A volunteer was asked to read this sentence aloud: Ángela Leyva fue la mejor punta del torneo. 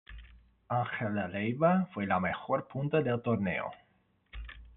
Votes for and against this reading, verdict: 2, 0, accepted